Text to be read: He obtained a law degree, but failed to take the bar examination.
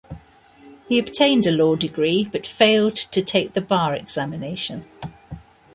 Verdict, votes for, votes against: accepted, 2, 0